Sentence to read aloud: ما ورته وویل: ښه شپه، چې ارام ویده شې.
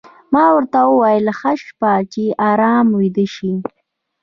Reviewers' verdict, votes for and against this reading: rejected, 1, 2